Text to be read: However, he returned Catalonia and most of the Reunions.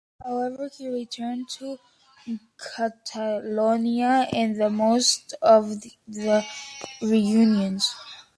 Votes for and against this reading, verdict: 0, 2, rejected